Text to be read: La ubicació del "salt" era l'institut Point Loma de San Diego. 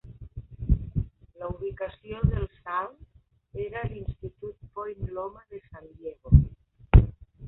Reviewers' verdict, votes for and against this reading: rejected, 2, 4